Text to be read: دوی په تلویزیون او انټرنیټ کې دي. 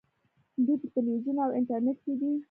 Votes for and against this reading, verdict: 1, 2, rejected